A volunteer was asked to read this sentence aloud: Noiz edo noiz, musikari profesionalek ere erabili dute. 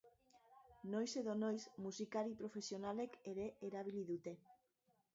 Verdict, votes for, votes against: rejected, 1, 2